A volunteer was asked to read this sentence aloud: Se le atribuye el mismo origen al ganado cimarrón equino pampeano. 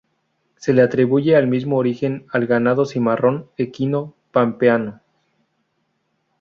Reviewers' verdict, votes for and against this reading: rejected, 0, 2